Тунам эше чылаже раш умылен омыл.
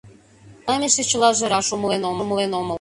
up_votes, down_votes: 1, 2